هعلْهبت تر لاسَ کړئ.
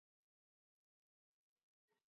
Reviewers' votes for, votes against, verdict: 0, 2, rejected